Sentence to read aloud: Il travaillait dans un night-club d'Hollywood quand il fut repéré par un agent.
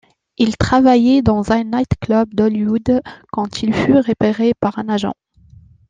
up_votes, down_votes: 2, 0